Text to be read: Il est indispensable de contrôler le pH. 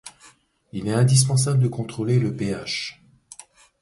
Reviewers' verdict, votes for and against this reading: accepted, 2, 0